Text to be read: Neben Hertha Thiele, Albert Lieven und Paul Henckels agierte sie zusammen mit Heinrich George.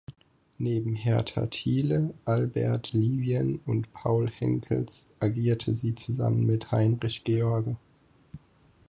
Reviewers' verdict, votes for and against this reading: rejected, 2, 4